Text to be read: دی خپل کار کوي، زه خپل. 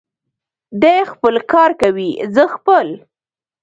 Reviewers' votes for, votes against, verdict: 1, 2, rejected